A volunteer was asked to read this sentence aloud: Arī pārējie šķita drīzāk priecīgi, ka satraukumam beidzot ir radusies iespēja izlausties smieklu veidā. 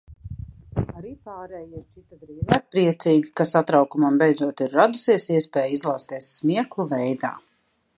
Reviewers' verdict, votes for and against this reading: rejected, 0, 2